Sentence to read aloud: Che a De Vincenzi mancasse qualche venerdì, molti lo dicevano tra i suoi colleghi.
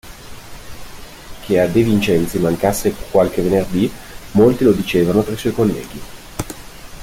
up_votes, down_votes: 2, 0